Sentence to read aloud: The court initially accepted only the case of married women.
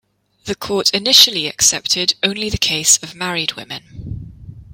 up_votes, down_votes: 2, 0